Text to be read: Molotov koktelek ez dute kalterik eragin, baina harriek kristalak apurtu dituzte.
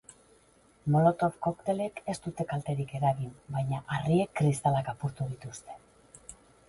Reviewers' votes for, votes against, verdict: 4, 4, rejected